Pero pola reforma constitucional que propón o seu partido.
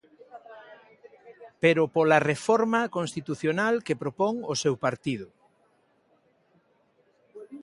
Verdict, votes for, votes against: accepted, 2, 0